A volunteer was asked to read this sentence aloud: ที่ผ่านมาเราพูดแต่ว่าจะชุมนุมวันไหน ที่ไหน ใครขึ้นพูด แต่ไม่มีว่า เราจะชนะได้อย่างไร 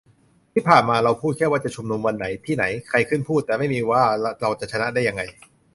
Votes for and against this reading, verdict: 1, 2, rejected